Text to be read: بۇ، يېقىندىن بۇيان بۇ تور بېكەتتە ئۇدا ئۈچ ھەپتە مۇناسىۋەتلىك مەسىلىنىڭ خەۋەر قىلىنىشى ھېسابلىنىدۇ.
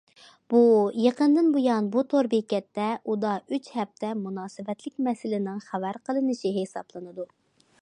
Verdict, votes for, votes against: accepted, 2, 0